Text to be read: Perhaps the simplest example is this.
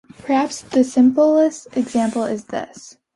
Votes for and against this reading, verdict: 2, 0, accepted